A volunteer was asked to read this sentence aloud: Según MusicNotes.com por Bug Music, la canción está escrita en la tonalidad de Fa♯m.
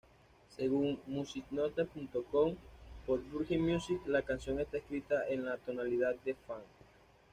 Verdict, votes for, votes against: rejected, 1, 2